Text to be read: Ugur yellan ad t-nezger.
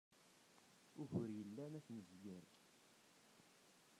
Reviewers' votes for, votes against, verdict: 0, 2, rejected